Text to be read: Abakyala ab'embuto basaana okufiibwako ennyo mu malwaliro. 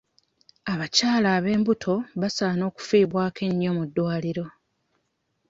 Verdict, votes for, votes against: rejected, 0, 2